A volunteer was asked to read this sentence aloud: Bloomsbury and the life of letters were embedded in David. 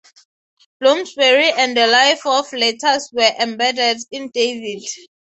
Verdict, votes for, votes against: rejected, 0, 3